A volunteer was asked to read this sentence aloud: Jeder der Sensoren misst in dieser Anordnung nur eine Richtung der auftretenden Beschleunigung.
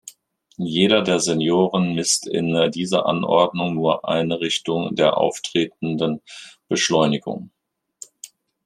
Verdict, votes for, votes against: rejected, 0, 2